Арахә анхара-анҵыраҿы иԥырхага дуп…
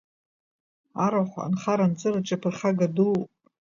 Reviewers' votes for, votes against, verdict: 0, 2, rejected